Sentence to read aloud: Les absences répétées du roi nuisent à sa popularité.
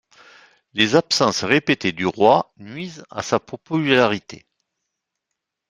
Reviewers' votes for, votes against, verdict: 1, 2, rejected